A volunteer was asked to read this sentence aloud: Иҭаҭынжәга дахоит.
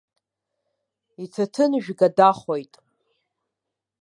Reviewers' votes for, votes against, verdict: 2, 0, accepted